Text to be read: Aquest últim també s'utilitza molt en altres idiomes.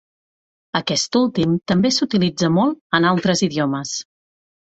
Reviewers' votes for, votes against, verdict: 4, 0, accepted